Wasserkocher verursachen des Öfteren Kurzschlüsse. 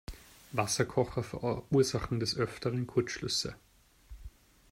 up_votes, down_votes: 2, 0